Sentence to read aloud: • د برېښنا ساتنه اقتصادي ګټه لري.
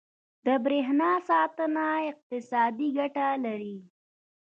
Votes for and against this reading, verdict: 2, 1, accepted